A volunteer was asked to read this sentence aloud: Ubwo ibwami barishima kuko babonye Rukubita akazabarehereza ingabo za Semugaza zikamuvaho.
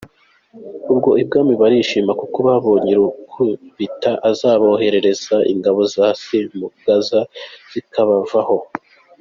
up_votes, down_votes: 2, 0